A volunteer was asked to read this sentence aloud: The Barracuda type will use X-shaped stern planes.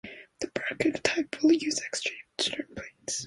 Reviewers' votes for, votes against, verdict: 0, 2, rejected